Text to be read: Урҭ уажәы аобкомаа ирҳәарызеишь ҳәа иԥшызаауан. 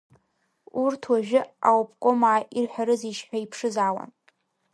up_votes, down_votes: 1, 2